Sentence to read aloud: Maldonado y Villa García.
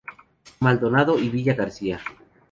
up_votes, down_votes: 2, 0